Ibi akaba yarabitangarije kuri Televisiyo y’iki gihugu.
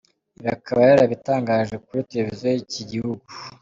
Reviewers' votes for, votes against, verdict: 2, 0, accepted